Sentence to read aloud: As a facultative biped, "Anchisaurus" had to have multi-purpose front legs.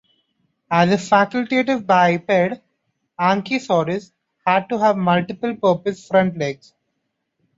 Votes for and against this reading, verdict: 1, 2, rejected